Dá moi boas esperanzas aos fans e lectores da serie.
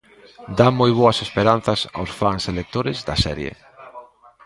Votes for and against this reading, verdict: 3, 0, accepted